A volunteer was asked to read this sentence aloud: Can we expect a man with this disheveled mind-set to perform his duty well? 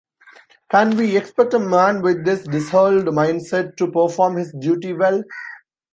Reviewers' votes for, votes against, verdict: 2, 0, accepted